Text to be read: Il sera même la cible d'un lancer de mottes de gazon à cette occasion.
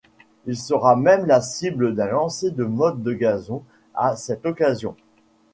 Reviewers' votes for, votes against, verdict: 2, 0, accepted